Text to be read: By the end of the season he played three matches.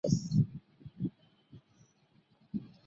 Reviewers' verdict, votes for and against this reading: rejected, 0, 2